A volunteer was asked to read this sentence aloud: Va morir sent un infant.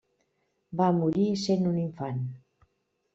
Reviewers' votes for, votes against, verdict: 3, 0, accepted